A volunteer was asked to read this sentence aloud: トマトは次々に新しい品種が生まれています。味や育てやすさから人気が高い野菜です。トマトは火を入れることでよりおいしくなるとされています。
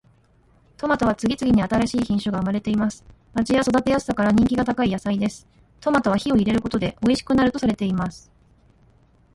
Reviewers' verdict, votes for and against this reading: accepted, 2, 1